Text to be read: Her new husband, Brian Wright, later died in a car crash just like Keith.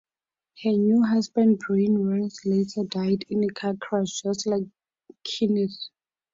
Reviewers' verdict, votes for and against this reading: rejected, 0, 4